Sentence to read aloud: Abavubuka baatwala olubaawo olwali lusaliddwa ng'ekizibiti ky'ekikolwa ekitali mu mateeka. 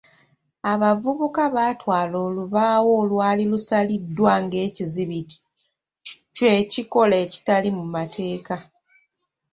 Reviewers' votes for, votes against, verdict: 2, 3, rejected